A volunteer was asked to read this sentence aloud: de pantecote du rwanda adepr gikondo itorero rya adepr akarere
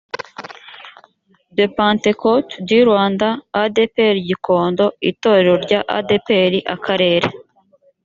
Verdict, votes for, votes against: accepted, 2, 0